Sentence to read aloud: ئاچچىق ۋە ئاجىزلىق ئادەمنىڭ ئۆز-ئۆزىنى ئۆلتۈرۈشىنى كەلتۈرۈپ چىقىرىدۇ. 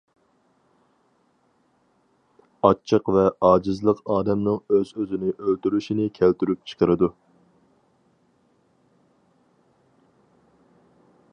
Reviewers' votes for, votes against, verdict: 4, 0, accepted